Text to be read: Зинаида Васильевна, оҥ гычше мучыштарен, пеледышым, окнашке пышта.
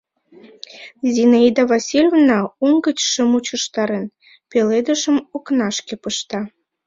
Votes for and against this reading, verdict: 2, 0, accepted